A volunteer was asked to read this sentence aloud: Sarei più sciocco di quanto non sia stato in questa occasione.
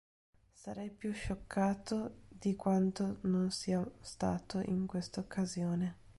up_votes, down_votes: 0, 2